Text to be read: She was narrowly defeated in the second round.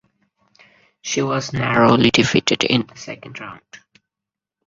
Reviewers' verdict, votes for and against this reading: rejected, 2, 4